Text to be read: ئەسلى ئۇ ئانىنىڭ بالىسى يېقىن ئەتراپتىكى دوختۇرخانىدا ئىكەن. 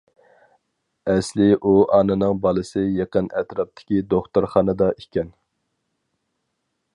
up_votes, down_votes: 4, 0